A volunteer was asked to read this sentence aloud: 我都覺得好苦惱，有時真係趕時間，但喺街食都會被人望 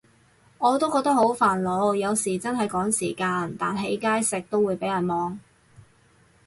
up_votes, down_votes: 2, 2